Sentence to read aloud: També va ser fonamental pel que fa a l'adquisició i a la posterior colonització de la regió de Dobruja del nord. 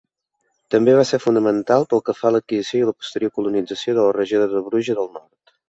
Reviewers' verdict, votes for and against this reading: rejected, 1, 2